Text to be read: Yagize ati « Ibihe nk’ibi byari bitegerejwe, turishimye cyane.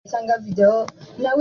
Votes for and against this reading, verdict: 0, 2, rejected